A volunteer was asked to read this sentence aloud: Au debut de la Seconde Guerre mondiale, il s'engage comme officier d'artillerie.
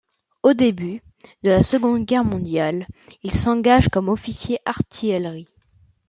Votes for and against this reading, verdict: 1, 2, rejected